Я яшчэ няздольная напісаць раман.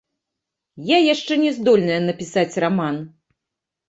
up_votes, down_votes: 2, 0